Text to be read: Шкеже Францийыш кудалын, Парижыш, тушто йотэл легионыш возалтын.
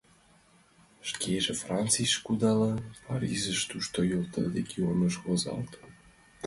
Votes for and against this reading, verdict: 3, 0, accepted